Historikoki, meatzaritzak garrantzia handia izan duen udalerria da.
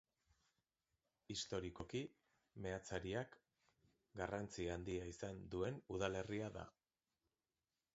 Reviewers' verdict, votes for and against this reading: rejected, 0, 2